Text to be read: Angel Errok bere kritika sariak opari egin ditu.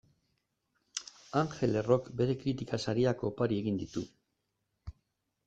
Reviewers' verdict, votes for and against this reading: accepted, 2, 0